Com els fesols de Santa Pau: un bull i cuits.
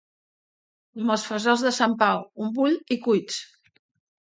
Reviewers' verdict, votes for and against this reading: rejected, 2, 3